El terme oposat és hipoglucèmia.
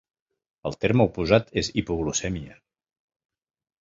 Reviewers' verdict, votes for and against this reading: accepted, 2, 0